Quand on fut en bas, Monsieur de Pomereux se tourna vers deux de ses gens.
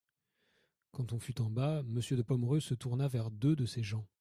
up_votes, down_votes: 2, 0